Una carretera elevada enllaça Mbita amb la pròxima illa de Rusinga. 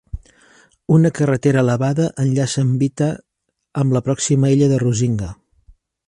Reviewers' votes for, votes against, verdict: 2, 0, accepted